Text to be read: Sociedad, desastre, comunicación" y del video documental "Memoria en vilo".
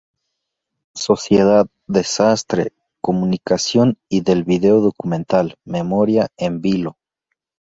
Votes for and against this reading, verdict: 2, 0, accepted